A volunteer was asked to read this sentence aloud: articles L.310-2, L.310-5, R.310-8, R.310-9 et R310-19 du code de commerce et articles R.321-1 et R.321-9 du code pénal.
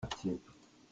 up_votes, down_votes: 0, 2